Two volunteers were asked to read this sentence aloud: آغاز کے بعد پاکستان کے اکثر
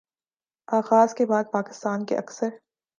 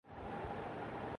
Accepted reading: first